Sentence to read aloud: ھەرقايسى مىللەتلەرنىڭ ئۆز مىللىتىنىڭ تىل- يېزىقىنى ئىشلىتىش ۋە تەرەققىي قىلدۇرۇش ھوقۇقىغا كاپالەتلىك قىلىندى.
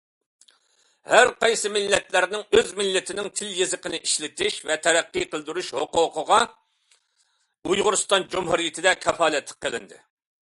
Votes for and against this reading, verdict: 0, 2, rejected